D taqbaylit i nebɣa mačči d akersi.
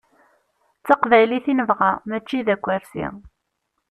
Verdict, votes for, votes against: accepted, 2, 0